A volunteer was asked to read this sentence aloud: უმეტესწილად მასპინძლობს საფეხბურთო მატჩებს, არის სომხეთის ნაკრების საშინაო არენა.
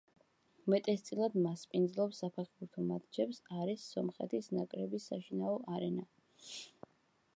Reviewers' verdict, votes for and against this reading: accepted, 2, 0